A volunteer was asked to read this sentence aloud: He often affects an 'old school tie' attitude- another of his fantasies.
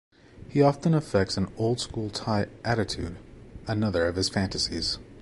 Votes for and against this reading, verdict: 2, 0, accepted